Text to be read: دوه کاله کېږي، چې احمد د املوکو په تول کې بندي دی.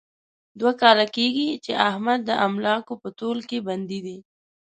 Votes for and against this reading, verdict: 0, 2, rejected